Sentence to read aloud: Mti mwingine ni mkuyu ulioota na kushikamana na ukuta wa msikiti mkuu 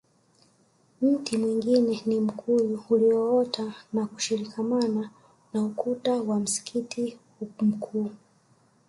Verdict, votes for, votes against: rejected, 1, 2